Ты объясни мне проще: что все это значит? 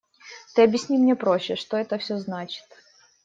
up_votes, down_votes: 0, 3